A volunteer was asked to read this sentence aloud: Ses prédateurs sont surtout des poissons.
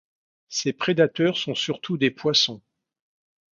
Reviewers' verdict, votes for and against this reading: accepted, 2, 0